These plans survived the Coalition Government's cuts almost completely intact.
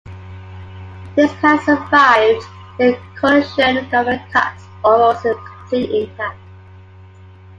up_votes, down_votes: 1, 2